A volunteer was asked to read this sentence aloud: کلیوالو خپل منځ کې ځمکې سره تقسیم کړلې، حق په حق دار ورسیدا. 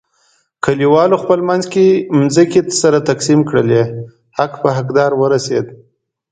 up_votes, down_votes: 2, 0